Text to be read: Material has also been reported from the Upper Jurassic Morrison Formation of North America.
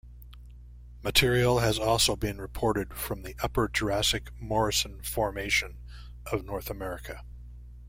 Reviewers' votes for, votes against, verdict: 2, 0, accepted